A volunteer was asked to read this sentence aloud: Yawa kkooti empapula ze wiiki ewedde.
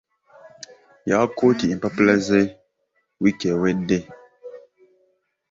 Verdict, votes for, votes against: accepted, 2, 1